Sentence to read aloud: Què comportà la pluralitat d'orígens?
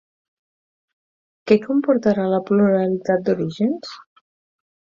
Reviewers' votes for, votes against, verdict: 0, 4, rejected